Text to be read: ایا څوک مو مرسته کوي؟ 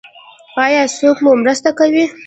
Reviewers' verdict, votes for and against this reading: accepted, 2, 0